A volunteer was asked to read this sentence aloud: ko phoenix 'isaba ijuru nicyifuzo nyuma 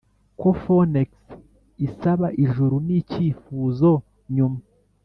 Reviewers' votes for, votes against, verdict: 0, 2, rejected